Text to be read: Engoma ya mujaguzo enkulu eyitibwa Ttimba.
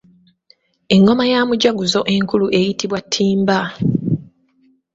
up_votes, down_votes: 0, 2